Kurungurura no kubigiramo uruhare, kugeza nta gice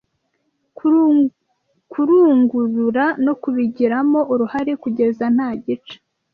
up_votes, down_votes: 0, 2